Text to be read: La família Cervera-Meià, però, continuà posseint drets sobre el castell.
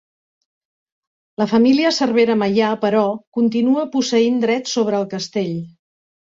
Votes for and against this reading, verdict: 1, 2, rejected